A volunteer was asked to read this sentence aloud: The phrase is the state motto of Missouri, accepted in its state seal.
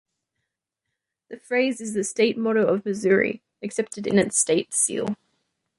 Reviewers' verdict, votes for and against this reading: rejected, 0, 2